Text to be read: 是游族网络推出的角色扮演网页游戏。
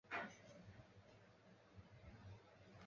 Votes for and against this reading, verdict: 0, 3, rejected